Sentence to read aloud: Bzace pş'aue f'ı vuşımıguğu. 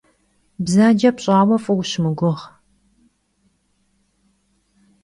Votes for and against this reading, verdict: 2, 0, accepted